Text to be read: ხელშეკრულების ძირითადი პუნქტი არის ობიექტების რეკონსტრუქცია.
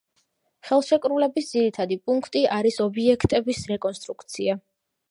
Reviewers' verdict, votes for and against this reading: accepted, 2, 1